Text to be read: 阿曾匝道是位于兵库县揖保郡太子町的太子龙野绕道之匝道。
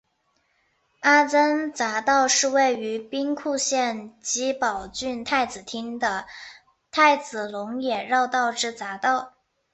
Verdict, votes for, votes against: accepted, 6, 0